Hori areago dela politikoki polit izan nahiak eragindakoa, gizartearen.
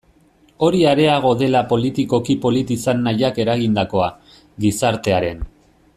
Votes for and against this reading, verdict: 1, 2, rejected